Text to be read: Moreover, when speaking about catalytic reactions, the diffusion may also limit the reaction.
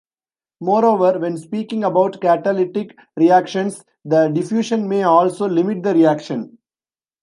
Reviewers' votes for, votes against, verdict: 2, 0, accepted